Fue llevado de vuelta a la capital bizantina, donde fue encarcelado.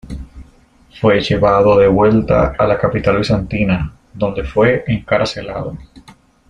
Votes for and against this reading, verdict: 0, 2, rejected